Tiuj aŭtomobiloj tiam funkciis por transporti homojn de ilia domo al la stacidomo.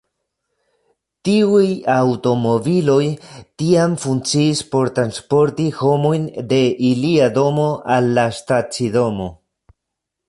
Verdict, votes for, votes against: rejected, 1, 2